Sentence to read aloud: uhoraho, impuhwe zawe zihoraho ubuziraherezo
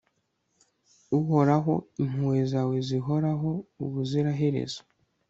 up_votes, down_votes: 2, 0